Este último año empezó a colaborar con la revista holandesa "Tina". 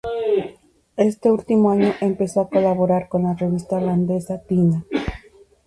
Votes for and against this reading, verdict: 4, 0, accepted